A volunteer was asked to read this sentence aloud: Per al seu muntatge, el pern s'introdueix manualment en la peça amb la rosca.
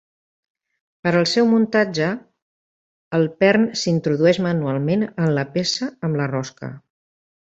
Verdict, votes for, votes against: accepted, 2, 1